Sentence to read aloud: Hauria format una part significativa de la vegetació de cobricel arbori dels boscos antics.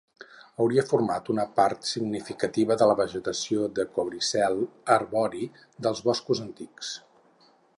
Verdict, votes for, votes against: accepted, 4, 0